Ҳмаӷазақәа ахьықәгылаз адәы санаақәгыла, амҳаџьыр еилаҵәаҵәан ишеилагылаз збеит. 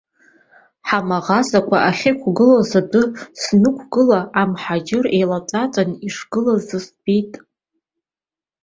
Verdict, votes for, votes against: rejected, 1, 2